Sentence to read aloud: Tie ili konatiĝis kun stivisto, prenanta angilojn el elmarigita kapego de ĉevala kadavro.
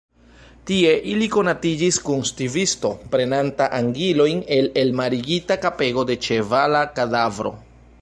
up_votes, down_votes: 2, 1